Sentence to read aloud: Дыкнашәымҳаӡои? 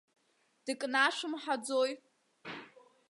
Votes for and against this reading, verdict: 2, 0, accepted